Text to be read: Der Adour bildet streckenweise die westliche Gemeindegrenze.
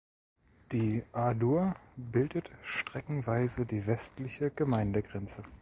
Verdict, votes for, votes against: rejected, 0, 2